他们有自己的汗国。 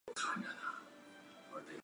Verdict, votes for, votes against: accepted, 2, 1